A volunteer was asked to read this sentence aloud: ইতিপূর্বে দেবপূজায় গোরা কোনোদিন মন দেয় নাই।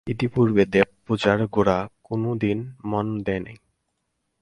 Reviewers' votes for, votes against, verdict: 0, 4, rejected